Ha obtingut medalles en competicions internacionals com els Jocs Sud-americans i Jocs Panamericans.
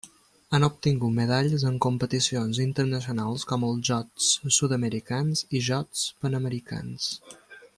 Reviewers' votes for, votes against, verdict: 1, 2, rejected